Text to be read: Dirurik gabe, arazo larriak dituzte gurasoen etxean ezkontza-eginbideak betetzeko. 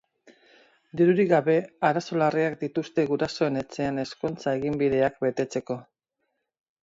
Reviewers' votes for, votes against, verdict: 2, 2, rejected